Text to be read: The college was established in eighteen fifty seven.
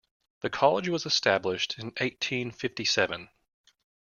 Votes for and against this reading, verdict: 2, 0, accepted